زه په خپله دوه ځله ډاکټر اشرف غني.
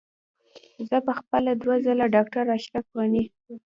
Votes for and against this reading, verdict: 2, 0, accepted